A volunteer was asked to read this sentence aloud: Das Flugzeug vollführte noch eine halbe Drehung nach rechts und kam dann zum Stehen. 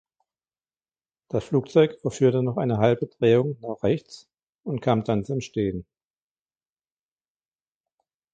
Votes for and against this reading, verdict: 2, 0, accepted